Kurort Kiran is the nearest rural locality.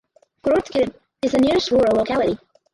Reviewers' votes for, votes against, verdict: 0, 4, rejected